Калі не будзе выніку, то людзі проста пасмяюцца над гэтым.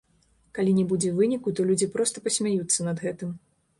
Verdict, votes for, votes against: rejected, 0, 2